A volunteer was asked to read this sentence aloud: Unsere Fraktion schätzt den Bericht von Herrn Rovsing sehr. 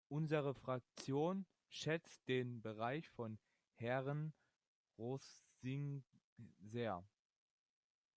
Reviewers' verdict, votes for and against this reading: rejected, 0, 2